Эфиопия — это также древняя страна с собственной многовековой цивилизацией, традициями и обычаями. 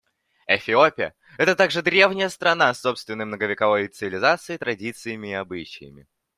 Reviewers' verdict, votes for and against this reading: accepted, 2, 0